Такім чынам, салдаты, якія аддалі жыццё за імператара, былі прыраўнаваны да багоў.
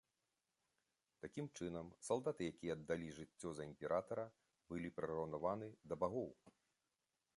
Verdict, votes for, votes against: rejected, 0, 2